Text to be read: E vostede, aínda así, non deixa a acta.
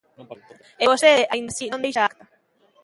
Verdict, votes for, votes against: rejected, 0, 2